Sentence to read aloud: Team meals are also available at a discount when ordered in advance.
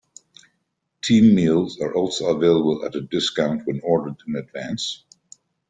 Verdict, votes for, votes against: accepted, 2, 0